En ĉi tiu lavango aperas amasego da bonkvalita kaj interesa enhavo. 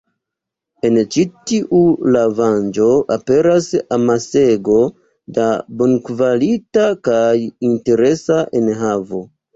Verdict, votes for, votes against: accepted, 2, 0